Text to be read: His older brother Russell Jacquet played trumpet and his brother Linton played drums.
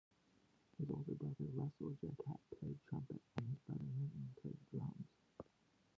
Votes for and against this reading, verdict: 0, 2, rejected